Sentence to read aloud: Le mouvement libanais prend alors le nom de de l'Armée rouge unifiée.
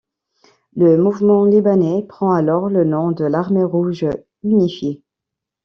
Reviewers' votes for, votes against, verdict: 2, 1, accepted